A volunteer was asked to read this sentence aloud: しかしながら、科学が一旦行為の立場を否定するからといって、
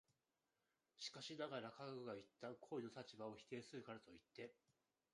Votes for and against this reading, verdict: 0, 2, rejected